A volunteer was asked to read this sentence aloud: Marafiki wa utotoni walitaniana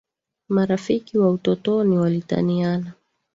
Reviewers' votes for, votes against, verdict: 0, 2, rejected